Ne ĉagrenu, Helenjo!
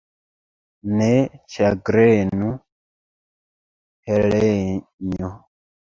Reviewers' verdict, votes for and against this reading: rejected, 0, 2